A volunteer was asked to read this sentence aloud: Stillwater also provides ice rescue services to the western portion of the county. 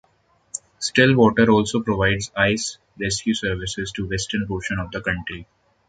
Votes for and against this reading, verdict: 0, 2, rejected